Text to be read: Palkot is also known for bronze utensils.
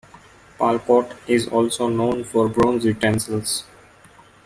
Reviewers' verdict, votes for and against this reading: accepted, 2, 0